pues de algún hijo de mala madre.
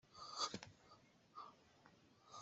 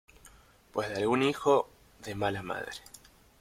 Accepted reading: second